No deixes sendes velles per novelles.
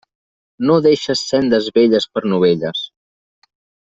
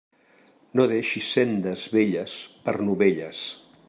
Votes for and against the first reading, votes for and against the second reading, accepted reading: 3, 0, 0, 2, first